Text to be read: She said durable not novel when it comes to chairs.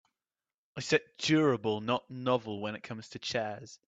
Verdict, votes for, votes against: rejected, 1, 2